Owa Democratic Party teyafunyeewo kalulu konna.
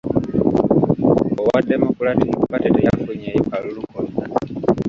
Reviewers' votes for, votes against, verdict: 2, 0, accepted